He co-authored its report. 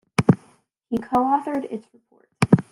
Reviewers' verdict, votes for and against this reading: rejected, 0, 2